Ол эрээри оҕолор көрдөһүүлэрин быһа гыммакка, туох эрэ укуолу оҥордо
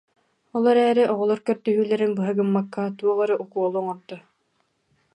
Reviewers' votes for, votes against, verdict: 2, 0, accepted